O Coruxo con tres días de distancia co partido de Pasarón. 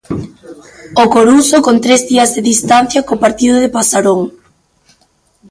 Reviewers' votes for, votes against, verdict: 2, 1, accepted